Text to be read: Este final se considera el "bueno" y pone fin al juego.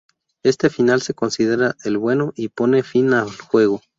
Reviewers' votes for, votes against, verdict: 2, 4, rejected